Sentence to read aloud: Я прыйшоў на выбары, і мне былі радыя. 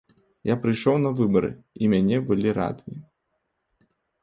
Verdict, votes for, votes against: rejected, 1, 2